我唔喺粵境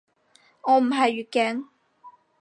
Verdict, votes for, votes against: rejected, 0, 4